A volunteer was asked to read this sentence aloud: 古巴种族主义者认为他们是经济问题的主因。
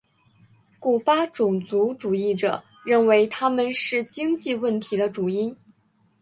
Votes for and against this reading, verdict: 2, 0, accepted